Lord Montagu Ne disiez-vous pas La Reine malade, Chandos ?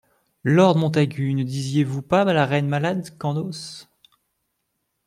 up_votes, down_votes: 0, 2